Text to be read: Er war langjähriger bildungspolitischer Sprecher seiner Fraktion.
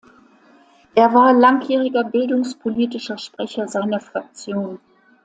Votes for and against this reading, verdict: 2, 0, accepted